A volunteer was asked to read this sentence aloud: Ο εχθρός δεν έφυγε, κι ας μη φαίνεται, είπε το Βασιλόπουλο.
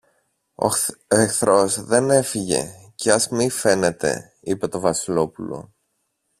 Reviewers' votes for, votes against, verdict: 0, 2, rejected